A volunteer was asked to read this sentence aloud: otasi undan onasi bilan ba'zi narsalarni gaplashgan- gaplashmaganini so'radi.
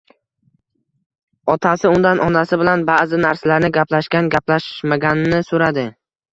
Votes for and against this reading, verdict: 1, 2, rejected